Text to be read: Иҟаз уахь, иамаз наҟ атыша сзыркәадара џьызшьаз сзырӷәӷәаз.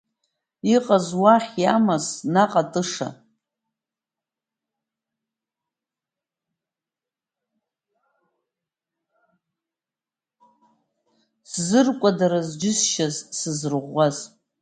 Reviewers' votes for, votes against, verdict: 0, 2, rejected